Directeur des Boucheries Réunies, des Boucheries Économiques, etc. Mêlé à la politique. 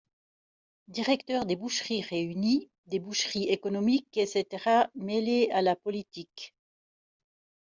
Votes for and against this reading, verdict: 2, 1, accepted